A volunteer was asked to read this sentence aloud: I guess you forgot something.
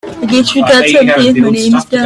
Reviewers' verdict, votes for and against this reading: rejected, 0, 2